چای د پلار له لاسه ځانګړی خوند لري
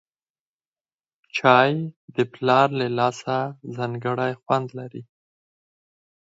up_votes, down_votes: 4, 0